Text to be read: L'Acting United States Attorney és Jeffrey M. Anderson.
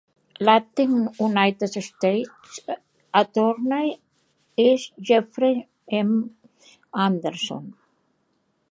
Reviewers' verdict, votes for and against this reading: rejected, 2, 3